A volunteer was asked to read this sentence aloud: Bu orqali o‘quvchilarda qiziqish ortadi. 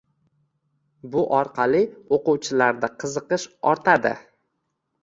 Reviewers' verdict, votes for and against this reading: accepted, 2, 0